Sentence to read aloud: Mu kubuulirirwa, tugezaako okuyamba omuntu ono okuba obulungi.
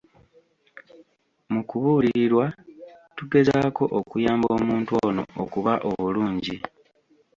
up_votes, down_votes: 1, 2